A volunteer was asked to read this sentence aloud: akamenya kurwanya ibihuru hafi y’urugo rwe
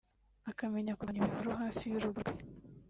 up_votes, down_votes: 1, 2